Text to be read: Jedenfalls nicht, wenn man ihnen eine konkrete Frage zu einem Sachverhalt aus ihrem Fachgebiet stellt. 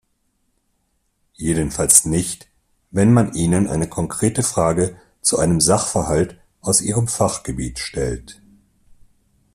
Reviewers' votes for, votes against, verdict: 2, 0, accepted